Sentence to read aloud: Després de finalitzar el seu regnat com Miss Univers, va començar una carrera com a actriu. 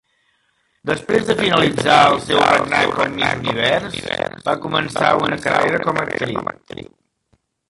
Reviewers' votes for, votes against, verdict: 0, 2, rejected